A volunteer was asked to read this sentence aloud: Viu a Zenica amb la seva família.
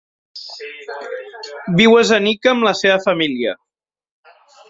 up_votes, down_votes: 5, 1